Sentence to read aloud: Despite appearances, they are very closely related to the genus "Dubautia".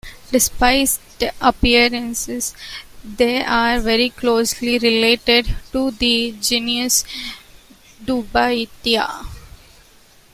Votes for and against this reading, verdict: 0, 2, rejected